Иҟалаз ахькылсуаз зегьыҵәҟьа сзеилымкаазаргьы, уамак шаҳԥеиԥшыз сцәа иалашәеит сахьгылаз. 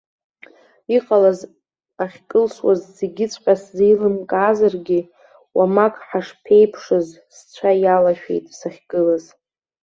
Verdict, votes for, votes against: accepted, 2, 0